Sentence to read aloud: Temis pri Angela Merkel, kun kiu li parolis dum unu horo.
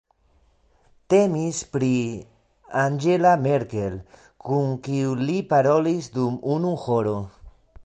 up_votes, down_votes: 2, 1